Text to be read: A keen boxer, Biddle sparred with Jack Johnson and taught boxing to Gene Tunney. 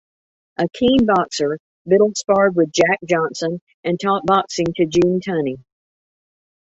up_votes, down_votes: 2, 0